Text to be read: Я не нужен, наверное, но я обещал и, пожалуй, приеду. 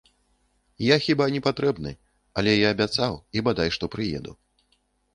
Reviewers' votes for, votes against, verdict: 0, 2, rejected